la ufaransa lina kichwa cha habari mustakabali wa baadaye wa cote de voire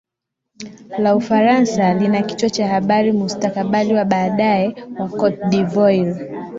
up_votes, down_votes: 2, 0